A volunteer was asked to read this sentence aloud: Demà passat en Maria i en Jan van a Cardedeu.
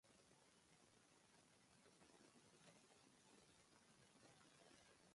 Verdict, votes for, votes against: rejected, 1, 2